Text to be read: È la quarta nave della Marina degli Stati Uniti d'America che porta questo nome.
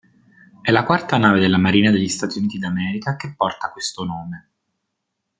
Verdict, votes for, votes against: rejected, 1, 2